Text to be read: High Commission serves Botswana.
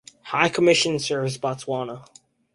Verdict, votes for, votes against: accepted, 4, 0